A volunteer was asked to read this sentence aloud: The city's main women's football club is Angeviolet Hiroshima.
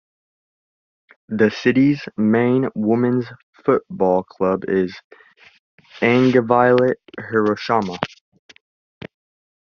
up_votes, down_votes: 0, 2